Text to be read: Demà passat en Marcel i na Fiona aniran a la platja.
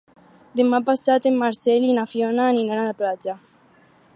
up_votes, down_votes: 4, 0